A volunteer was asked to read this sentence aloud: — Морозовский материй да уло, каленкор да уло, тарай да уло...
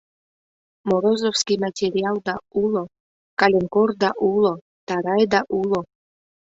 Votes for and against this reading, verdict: 1, 2, rejected